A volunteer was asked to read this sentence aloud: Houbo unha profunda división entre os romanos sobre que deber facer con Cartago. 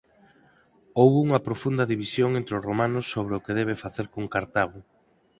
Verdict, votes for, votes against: rejected, 2, 4